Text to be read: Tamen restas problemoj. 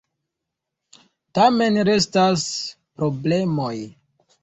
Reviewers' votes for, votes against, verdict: 2, 0, accepted